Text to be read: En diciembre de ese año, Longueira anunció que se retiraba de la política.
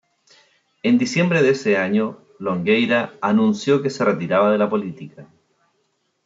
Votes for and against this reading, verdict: 2, 1, accepted